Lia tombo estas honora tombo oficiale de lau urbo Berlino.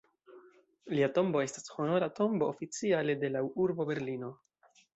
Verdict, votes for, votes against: rejected, 1, 2